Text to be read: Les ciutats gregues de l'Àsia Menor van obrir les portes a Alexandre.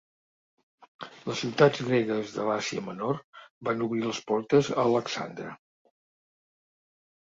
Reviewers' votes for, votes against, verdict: 2, 0, accepted